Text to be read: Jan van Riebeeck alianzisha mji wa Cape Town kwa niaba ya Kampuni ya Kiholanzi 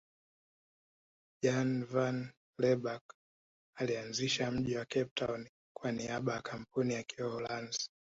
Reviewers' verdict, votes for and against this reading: rejected, 1, 2